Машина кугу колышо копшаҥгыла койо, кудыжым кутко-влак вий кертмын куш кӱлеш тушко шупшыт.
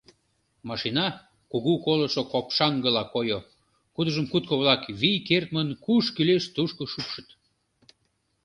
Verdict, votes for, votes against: accepted, 2, 0